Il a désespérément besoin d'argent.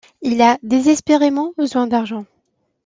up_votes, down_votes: 2, 0